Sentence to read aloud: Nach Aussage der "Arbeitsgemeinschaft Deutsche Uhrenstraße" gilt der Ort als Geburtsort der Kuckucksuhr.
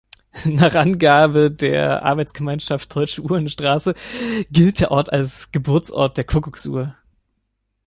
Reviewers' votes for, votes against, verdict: 0, 2, rejected